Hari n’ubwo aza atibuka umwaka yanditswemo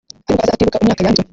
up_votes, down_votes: 1, 2